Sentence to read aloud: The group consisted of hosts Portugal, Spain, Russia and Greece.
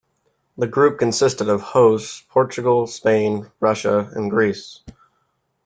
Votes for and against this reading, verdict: 2, 0, accepted